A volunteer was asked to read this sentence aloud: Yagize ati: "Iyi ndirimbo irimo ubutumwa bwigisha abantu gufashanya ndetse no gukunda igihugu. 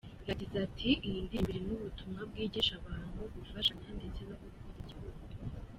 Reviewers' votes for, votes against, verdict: 3, 0, accepted